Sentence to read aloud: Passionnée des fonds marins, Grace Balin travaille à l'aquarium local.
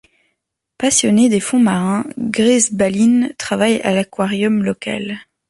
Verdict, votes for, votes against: accepted, 2, 0